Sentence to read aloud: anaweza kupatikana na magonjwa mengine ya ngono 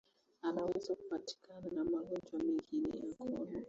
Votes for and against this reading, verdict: 1, 2, rejected